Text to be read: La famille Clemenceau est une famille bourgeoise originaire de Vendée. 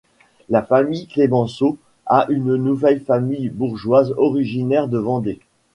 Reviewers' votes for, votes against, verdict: 0, 2, rejected